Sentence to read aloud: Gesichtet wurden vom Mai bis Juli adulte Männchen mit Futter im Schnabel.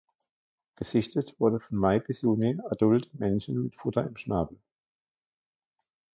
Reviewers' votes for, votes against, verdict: 2, 1, accepted